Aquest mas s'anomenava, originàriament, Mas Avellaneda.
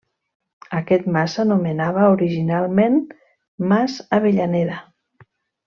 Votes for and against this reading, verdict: 0, 2, rejected